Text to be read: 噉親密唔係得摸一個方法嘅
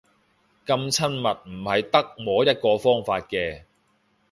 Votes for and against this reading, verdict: 1, 2, rejected